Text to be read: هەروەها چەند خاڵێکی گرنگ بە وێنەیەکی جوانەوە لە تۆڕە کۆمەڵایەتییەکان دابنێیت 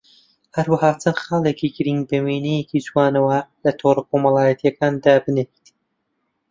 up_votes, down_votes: 0, 2